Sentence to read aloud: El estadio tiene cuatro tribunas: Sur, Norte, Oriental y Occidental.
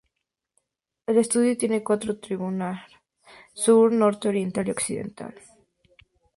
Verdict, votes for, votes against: rejected, 0, 2